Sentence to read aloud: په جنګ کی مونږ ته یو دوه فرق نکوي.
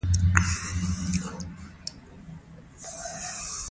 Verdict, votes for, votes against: rejected, 0, 2